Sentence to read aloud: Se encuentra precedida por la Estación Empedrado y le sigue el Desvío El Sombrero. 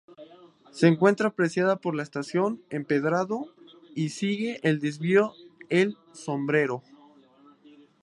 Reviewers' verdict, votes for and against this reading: rejected, 0, 2